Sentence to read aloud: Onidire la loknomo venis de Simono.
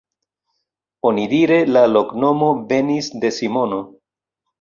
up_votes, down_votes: 1, 2